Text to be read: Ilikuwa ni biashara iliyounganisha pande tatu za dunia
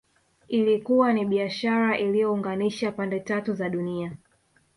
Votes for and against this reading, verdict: 1, 2, rejected